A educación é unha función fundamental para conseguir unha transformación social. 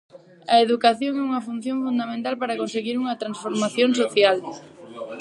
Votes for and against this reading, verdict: 2, 4, rejected